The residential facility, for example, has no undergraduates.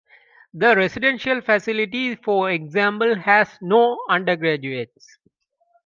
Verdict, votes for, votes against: accepted, 2, 0